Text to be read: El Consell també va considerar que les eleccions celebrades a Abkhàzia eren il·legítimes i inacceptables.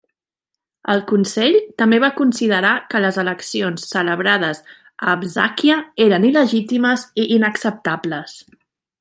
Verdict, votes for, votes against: rejected, 1, 2